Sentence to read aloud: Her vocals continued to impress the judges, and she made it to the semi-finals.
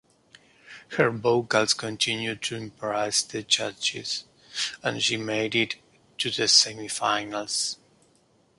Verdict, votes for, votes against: accepted, 2, 0